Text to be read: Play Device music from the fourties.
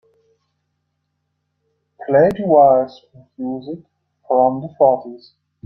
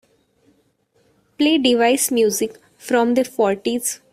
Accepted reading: second